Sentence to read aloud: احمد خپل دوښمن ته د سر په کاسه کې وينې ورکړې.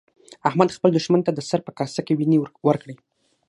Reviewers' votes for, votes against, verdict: 6, 0, accepted